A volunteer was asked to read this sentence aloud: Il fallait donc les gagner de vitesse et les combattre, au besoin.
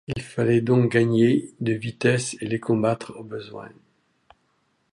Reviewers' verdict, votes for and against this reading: rejected, 0, 2